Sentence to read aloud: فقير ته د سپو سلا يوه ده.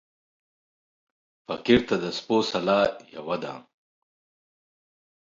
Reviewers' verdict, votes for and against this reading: accepted, 2, 0